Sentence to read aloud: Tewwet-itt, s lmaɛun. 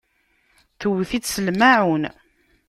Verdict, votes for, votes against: accepted, 2, 0